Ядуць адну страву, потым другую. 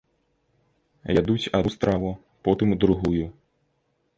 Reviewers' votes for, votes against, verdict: 0, 2, rejected